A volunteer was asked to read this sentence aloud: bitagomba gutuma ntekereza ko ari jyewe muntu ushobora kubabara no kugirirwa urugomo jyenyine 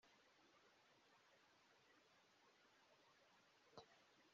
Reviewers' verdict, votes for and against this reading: rejected, 0, 2